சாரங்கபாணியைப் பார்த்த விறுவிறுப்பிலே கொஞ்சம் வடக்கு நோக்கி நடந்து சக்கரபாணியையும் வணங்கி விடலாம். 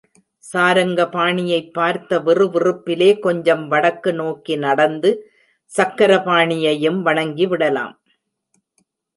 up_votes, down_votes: 2, 0